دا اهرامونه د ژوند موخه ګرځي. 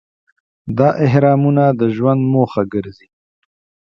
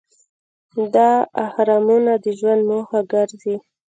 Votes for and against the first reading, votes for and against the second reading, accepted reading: 2, 0, 1, 2, first